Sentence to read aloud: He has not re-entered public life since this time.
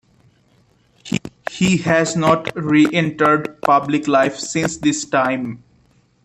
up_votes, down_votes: 0, 2